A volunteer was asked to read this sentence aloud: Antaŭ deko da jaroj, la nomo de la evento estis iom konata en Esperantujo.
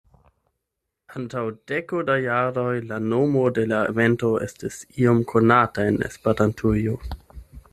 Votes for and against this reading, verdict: 8, 0, accepted